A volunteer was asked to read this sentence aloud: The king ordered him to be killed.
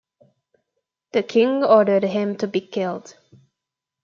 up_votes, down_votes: 2, 0